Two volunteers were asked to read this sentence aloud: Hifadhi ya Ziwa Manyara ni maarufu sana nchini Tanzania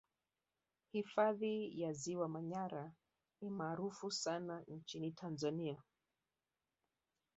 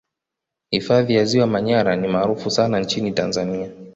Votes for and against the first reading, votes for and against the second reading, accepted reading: 2, 3, 2, 1, second